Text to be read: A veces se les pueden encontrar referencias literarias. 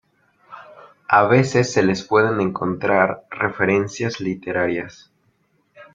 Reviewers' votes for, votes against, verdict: 2, 0, accepted